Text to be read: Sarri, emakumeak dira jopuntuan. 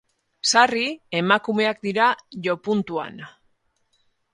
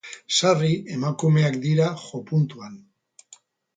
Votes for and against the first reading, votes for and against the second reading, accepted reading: 0, 2, 6, 0, second